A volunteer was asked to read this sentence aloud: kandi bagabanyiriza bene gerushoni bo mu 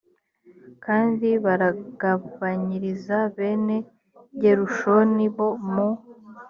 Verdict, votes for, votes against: rejected, 2, 3